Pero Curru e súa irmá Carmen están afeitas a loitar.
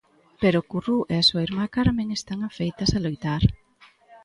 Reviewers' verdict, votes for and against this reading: rejected, 0, 2